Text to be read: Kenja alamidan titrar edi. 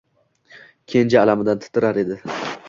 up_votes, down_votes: 2, 0